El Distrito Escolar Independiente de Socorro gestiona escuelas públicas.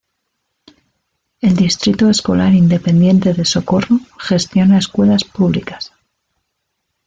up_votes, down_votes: 2, 0